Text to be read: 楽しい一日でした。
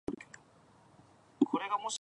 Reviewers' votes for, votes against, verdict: 1, 2, rejected